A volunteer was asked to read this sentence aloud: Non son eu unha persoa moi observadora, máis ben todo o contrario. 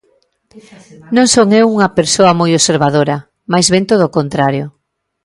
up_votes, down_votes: 2, 0